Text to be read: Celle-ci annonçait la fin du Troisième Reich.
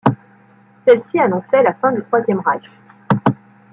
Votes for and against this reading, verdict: 1, 2, rejected